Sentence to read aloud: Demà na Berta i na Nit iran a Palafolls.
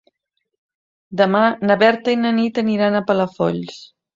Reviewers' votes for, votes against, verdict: 1, 2, rejected